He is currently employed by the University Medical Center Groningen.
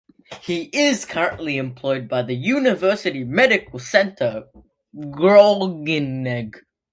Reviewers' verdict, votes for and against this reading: rejected, 1, 2